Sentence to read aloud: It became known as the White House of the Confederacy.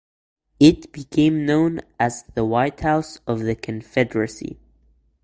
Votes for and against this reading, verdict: 2, 1, accepted